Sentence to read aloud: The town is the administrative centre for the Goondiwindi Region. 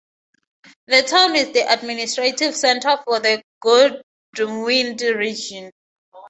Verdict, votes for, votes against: rejected, 0, 2